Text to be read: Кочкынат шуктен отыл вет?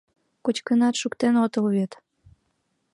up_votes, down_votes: 7, 0